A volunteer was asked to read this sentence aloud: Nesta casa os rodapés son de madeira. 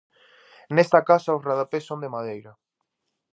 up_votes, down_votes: 2, 0